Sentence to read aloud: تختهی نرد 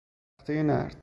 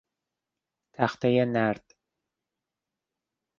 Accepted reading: second